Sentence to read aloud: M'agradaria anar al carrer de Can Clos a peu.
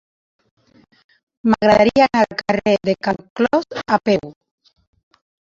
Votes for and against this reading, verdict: 2, 1, accepted